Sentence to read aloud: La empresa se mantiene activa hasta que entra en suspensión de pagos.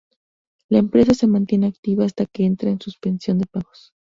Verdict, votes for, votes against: accepted, 4, 0